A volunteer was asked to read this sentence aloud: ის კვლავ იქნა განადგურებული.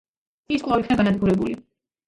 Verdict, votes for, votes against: accepted, 2, 1